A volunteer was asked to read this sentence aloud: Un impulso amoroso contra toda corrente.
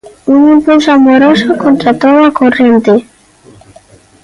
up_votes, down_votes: 1, 2